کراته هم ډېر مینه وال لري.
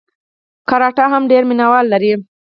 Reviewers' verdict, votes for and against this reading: rejected, 2, 4